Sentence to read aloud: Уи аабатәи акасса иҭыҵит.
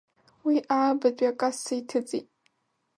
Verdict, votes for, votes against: accepted, 2, 0